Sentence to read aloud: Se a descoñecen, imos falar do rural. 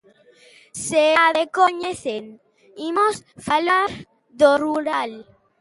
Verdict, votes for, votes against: rejected, 0, 2